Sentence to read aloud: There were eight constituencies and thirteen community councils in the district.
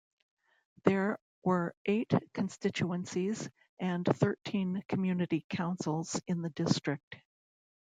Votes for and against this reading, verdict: 2, 0, accepted